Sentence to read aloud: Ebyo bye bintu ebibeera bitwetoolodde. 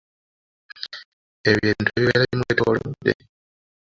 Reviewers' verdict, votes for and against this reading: rejected, 0, 2